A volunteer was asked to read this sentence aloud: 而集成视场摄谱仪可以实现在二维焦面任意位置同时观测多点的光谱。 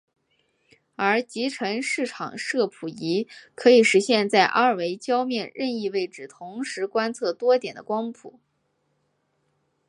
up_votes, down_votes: 1, 2